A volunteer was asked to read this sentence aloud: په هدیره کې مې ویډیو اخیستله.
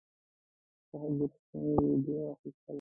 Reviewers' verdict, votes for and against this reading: rejected, 0, 2